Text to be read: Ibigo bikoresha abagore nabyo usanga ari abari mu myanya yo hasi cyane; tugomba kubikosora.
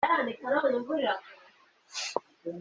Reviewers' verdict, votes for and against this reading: rejected, 0, 2